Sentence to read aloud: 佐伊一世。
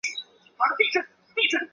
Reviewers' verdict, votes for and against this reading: rejected, 0, 2